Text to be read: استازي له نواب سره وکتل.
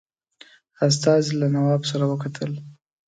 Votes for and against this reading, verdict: 2, 0, accepted